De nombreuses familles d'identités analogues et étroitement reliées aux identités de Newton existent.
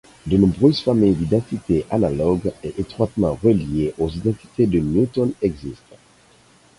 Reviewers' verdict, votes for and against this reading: rejected, 2, 4